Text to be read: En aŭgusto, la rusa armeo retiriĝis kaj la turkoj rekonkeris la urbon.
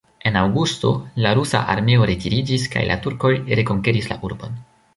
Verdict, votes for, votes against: accepted, 2, 1